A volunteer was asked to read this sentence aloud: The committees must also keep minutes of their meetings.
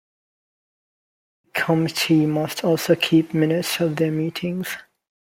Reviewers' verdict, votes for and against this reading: rejected, 0, 2